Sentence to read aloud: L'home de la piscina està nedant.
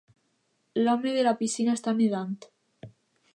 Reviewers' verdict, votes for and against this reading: rejected, 0, 2